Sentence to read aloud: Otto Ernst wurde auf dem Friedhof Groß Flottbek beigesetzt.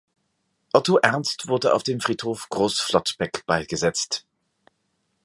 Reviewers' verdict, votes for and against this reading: accepted, 2, 0